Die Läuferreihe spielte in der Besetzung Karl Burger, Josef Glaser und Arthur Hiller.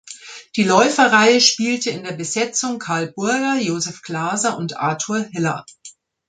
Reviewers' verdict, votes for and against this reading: accepted, 2, 0